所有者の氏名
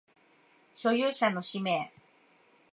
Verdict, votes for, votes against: accepted, 2, 0